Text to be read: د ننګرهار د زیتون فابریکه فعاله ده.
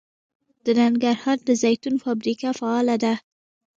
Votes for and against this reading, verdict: 1, 2, rejected